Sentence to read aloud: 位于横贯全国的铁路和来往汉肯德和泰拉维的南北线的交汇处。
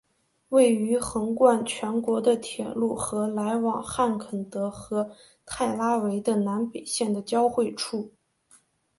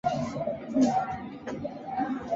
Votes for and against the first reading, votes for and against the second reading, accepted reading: 3, 0, 2, 4, first